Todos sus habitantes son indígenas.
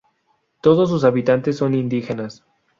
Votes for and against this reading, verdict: 2, 0, accepted